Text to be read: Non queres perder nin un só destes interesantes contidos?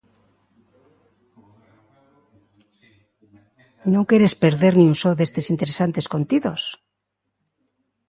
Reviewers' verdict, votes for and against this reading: rejected, 1, 2